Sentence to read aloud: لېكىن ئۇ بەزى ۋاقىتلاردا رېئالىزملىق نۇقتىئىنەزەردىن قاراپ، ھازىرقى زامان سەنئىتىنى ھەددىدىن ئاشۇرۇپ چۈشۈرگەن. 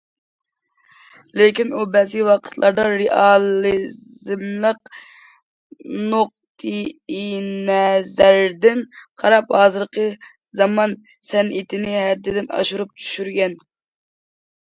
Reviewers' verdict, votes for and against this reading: rejected, 0, 2